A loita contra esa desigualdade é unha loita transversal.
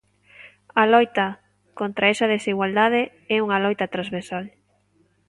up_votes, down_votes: 2, 0